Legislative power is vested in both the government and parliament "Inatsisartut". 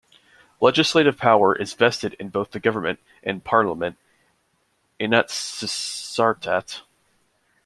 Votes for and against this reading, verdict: 0, 2, rejected